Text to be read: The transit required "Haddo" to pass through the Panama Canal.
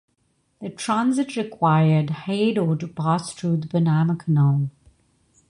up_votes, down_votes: 2, 0